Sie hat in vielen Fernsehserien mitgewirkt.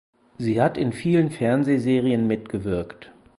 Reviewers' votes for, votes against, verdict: 4, 0, accepted